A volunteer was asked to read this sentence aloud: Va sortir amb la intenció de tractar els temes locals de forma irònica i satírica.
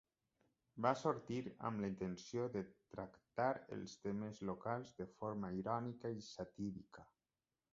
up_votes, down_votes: 1, 2